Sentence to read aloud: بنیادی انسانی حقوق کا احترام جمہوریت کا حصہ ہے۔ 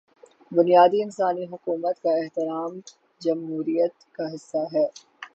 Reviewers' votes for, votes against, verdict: 6, 0, accepted